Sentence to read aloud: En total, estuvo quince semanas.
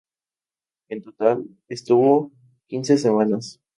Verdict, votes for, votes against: accepted, 2, 0